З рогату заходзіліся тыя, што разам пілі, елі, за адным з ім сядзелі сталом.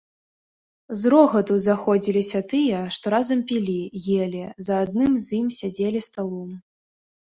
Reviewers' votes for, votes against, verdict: 2, 0, accepted